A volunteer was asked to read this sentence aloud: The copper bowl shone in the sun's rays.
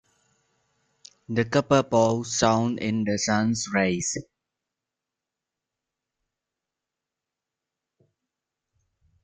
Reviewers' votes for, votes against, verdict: 2, 0, accepted